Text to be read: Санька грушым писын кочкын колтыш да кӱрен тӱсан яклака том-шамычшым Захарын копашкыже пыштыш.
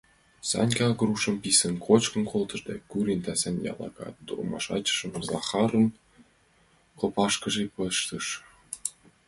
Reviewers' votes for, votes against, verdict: 0, 2, rejected